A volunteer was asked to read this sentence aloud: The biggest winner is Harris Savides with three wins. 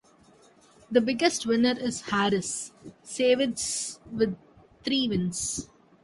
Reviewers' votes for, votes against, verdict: 2, 0, accepted